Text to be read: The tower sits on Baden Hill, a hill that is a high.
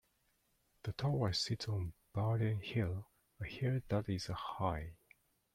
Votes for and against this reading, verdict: 2, 0, accepted